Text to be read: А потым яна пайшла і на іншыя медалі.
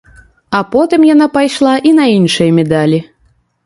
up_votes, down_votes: 1, 2